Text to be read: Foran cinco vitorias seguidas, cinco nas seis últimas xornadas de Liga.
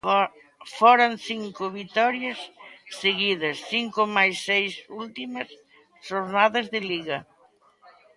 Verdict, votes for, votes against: rejected, 0, 2